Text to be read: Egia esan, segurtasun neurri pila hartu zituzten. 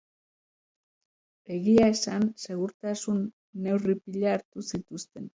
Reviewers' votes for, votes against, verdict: 2, 0, accepted